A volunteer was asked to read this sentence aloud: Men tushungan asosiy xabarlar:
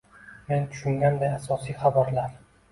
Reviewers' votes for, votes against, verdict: 2, 0, accepted